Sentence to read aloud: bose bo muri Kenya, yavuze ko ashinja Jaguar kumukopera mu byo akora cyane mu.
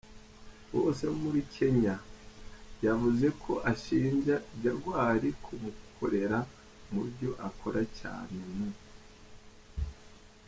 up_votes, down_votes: 1, 3